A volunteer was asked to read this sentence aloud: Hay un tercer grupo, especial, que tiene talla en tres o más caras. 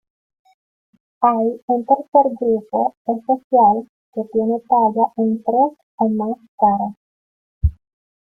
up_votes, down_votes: 2, 0